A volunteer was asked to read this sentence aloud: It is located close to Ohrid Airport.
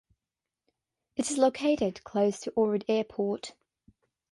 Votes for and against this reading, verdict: 3, 0, accepted